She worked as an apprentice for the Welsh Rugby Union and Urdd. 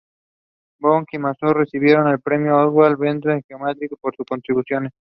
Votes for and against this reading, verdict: 0, 2, rejected